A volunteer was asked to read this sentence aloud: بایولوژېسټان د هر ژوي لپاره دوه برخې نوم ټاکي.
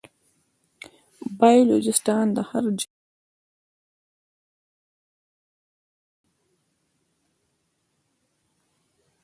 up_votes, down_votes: 0, 2